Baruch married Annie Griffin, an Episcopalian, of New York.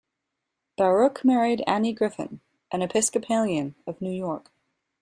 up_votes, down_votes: 2, 0